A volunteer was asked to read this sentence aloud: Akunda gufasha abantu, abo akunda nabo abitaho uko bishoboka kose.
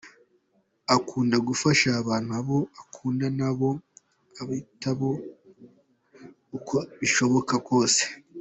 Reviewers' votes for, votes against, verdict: 2, 0, accepted